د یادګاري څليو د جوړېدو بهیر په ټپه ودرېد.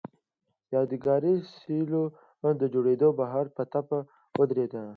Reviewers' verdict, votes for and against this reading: rejected, 1, 2